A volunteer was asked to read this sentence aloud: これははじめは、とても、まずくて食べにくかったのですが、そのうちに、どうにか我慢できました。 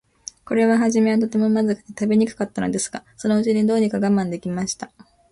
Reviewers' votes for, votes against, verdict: 2, 0, accepted